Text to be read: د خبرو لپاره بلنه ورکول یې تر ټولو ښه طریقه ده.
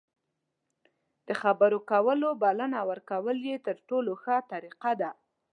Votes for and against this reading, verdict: 0, 2, rejected